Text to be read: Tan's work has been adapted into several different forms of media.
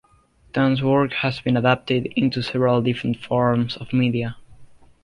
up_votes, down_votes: 2, 0